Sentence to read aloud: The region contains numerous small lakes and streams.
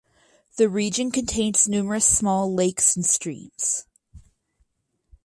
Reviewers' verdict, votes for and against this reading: accepted, 4, 0